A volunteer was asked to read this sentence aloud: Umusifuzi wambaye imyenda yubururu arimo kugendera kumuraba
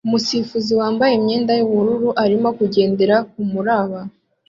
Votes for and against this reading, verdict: 2, 0, accepted